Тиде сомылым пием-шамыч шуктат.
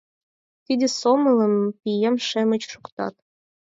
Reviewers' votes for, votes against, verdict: 0, 4, rejected